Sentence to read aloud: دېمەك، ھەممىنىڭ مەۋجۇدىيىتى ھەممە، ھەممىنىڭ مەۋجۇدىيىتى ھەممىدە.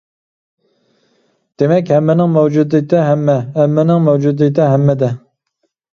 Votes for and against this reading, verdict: 2, 0, accepted